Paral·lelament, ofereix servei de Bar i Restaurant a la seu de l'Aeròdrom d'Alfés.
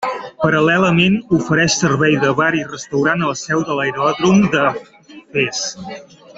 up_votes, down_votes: 0, 2